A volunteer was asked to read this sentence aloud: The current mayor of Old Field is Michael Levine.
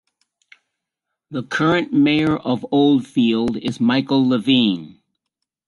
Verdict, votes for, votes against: accepted, 2, 0